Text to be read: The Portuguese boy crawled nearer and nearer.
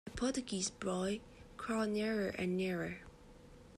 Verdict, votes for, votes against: rejected, 1, 2